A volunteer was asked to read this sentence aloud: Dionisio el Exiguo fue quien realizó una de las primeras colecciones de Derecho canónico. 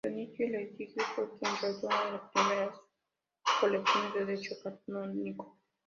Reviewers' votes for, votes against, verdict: 1, 2, rejected